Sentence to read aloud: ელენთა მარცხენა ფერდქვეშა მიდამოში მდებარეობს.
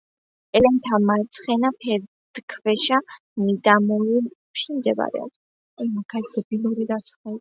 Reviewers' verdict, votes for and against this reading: rejected, 0, 2